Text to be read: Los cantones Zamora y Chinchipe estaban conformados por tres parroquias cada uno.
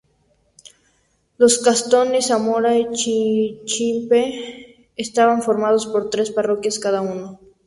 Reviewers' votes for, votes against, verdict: 2, 0, accepted